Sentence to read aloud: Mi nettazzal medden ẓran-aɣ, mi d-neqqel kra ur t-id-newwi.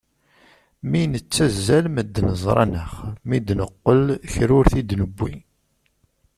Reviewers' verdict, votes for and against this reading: accepted, 2, 0